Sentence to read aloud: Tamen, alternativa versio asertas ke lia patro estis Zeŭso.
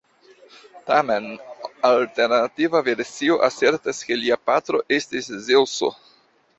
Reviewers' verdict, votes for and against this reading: accepted, 2, 0